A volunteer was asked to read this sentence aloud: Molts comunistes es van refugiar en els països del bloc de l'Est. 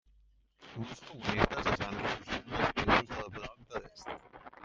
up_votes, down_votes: 0, 2